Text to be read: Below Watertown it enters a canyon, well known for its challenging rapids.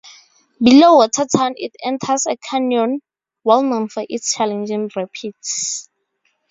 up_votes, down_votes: 4, 0